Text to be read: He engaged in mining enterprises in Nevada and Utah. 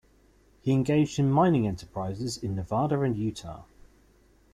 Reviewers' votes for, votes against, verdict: 2, 0, accepted